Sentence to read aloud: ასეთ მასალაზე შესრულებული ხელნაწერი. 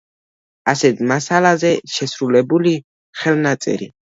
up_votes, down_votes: 1, 2